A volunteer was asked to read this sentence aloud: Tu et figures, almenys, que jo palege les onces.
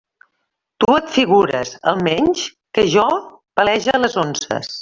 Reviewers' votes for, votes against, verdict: 0, 2, rejected